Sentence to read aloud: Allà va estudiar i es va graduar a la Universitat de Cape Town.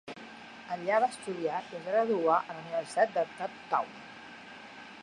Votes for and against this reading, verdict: 1, 2, rejected